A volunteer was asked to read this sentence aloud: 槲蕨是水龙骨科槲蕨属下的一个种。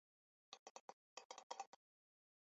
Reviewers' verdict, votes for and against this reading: accepted, 3, 2